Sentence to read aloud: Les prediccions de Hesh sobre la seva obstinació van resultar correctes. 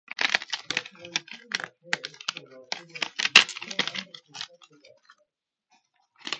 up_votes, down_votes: 0, 2